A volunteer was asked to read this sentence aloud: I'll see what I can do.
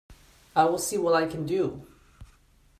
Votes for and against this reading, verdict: 0, 2, rejected